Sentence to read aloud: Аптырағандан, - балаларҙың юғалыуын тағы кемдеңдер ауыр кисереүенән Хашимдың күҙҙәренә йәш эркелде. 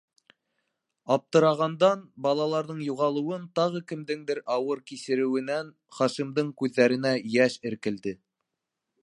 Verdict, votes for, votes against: accepted, 2, 0